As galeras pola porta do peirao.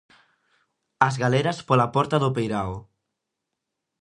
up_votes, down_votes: 2, 0